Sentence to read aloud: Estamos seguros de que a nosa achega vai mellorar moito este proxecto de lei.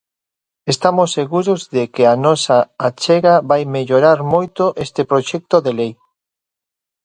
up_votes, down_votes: 2, 0